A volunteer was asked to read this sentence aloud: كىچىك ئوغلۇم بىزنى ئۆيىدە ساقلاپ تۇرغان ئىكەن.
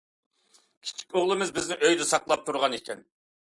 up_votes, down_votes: 0, 2